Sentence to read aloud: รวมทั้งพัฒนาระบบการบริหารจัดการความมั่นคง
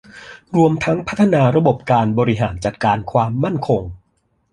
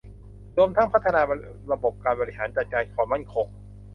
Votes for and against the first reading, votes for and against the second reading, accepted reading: 2, 0, 0, 2, first